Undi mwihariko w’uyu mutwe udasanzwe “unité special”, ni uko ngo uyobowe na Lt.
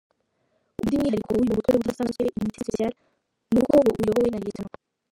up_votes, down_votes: 1, 2